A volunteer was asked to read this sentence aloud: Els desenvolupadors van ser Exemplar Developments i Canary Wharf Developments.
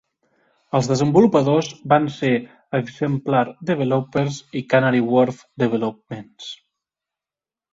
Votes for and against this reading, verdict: 2, 3, rejected